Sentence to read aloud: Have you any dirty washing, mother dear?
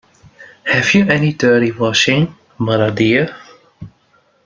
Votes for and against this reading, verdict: 1, 2, rejected